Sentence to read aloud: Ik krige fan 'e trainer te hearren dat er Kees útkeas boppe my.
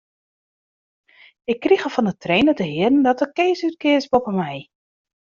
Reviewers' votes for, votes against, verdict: 2, 1, accepted